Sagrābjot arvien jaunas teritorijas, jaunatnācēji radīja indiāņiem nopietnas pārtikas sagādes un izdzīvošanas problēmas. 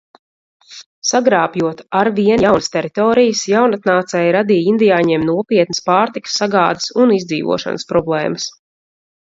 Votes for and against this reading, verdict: 0, 2, rejected